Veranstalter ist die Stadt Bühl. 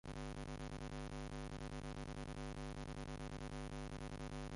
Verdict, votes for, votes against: rejected, 0, 2